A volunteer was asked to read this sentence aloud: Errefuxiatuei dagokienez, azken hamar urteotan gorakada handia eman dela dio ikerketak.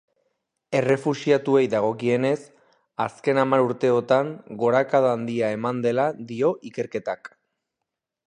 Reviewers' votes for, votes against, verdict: 2, 0, accepted